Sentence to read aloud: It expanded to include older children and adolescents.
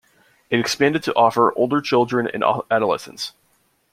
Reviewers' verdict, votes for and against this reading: rejected, 0, 2